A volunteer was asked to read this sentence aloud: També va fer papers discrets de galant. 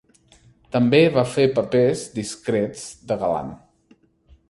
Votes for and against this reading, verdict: 3, 0, accepted